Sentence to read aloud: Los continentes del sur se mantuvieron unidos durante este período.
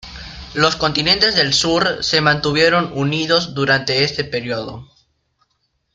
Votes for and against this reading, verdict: 2, 0, accepted